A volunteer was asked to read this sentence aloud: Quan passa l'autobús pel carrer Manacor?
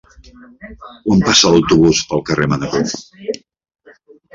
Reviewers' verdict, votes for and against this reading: rejected, 0, 2